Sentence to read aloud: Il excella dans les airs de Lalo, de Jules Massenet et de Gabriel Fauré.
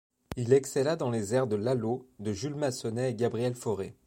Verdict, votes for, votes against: accepted, 2, 0